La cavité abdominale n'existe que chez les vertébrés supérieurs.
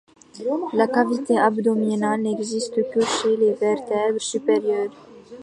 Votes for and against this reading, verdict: 2, 0, accepted